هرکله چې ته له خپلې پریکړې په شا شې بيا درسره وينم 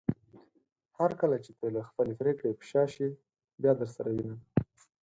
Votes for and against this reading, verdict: 6, 0, accepted